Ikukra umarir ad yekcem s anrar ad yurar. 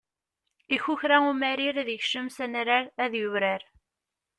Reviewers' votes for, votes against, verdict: 0, 2, rejected